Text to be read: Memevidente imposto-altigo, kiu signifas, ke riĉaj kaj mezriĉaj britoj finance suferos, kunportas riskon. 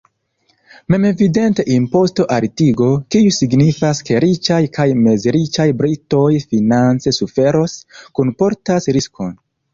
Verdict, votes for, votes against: accepted, 2, 0